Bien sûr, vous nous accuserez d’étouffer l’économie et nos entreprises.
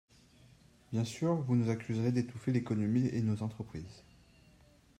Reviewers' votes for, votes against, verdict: 2, 0, accepted